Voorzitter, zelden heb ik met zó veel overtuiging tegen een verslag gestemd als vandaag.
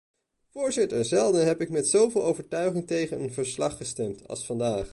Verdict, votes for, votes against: accepted, 2, 0